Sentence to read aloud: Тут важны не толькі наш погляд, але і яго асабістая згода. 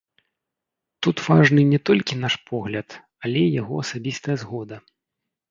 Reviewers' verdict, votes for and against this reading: rejected, 1, 2